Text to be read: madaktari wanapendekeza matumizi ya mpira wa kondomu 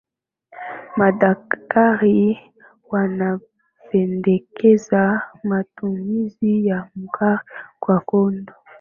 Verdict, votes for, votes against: rejected, 1, 2